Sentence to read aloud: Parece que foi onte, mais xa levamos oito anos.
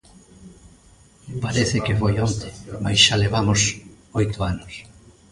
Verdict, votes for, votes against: accepted, 2, 0